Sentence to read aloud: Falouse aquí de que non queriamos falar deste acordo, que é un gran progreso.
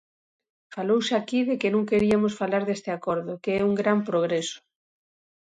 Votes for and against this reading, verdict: 1, 2, rejected